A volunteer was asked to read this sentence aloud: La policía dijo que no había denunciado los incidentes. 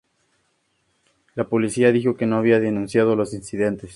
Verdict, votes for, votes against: accepted, 6, 0